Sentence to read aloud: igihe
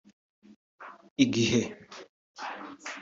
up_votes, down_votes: 2, 0